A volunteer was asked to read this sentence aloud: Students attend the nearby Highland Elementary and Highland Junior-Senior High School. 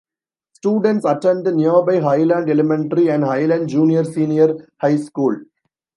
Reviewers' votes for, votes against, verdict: 2, 0, accepted